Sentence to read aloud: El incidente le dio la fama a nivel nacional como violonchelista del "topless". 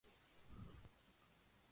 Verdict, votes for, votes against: rejected, 0, 2